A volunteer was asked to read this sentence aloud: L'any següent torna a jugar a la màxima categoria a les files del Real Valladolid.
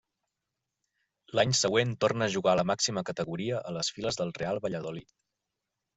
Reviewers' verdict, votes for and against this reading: accepted, 3, 0